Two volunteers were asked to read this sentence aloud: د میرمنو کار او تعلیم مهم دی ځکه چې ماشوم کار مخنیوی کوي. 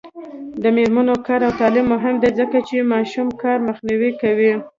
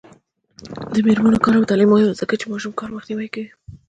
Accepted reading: first